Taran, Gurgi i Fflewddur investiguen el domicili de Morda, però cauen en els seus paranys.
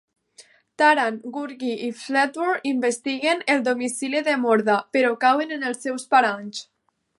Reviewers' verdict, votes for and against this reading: accepted, 2, 0